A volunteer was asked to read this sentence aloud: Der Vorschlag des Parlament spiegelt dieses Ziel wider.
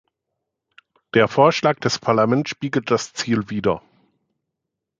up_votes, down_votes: 0, 2